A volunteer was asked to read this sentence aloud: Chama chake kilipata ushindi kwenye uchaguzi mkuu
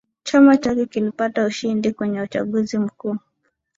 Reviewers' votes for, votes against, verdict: 2, 0, accepted